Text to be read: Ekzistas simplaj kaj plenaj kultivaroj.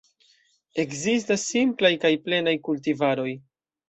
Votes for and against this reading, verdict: 2, 0, accepted